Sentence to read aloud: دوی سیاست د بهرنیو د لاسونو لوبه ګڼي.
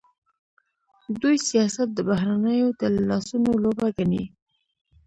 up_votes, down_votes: 1, 2